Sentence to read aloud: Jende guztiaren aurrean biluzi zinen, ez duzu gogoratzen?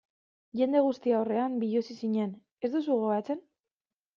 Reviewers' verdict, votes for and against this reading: rejected, 1, 2